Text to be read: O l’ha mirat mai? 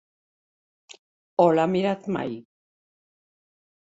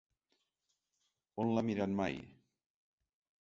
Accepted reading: first